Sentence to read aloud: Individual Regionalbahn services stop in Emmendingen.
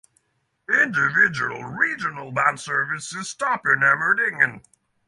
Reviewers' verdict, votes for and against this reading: accepted, 3, 0